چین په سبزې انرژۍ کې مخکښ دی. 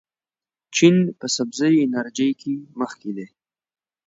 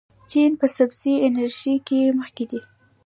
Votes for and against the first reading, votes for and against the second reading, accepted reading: 2, 0, 1, 2, first